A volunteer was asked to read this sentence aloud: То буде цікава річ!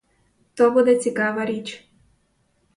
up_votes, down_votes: 4, 0